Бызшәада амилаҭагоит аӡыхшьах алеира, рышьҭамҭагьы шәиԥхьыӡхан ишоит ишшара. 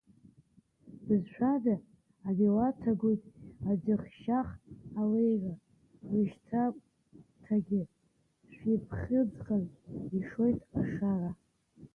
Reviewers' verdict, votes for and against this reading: rejected, 1, 2